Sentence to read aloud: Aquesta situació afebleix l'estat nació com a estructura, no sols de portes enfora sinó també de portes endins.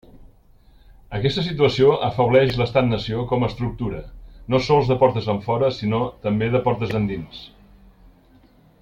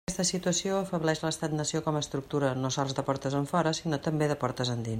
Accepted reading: first